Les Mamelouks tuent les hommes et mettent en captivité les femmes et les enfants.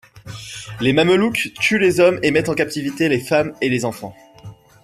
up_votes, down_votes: 2, 1